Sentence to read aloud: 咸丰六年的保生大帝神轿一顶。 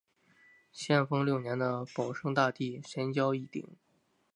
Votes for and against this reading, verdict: 4, 0, accepted